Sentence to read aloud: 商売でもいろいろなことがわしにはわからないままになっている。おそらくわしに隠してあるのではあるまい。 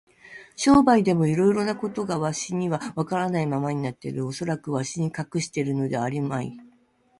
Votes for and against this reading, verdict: 2, 0, accepted